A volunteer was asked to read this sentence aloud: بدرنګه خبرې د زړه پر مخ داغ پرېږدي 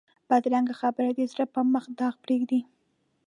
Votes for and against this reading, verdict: 2, 0, accepted